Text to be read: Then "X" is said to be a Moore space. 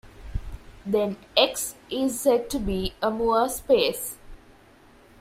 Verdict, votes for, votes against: accepted, 2, 0